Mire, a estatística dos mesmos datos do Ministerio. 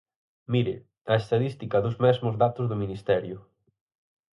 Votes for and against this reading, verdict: 0, 4, rejected